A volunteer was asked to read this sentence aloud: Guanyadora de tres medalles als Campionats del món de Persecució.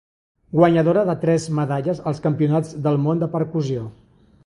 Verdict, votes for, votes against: rejected, 0, 2